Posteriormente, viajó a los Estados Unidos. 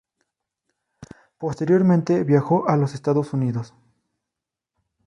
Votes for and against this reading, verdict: 2, 0, accepted